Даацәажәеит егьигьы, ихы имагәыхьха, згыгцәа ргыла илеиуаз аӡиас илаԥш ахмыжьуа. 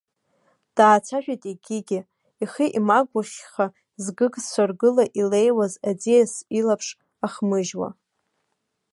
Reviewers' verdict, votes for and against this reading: accepted, 2, 0